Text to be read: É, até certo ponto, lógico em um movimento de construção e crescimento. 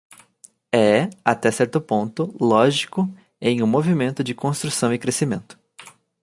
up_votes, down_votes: 2, 0